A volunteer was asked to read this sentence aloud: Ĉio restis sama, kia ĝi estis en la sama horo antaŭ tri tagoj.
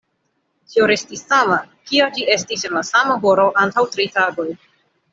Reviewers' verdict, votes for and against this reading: rejected, 1, 2